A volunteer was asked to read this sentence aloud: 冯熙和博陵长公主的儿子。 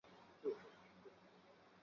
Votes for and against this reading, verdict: 4, 1, accepted